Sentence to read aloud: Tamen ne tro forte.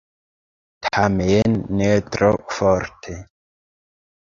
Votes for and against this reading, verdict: 2, 1, accepted